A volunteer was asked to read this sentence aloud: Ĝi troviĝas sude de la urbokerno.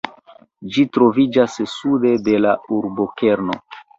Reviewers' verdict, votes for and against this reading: accepted, 2, 1